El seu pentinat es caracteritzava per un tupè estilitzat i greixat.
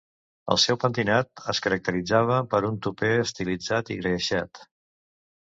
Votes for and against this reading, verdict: 1, 2, rejected